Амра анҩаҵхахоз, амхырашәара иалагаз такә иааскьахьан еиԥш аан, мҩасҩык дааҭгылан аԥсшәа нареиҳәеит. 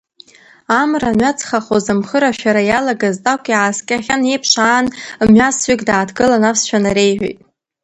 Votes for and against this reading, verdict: 1, 3, rejected